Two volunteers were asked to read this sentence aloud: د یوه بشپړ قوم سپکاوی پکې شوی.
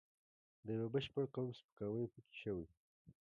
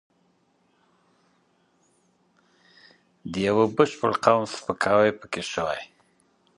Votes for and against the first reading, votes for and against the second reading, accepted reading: 2, 1, 0, 2, first